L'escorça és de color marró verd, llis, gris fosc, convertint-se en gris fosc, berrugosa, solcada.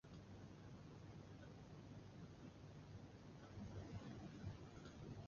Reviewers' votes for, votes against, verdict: 0, 2, rejected